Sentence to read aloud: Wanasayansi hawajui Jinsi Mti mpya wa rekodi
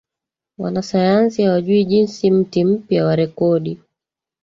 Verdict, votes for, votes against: accepted, 2, 1